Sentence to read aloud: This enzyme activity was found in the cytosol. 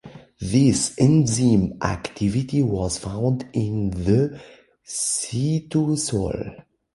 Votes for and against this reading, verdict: 1, 2, rejected